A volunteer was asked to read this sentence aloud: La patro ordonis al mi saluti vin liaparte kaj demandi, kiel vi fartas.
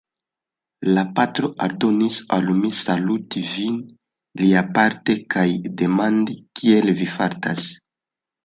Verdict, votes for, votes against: rejected, 1, 2